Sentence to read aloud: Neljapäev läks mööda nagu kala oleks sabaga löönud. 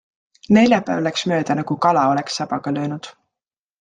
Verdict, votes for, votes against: accepted, 2, 0